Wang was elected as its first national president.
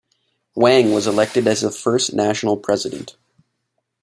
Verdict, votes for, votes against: rejected, 1, 2